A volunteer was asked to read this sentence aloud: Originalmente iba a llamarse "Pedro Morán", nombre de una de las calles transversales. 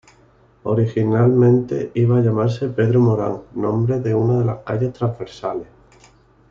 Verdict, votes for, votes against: accepted, 2, 0